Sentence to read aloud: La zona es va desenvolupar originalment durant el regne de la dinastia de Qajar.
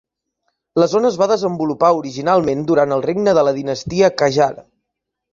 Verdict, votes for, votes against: rejected, 0, 2